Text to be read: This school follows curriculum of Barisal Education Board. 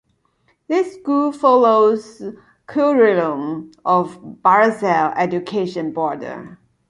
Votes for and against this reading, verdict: 1, 2, rejected